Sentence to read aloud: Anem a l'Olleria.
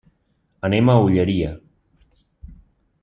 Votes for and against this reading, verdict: 1, 2, rejected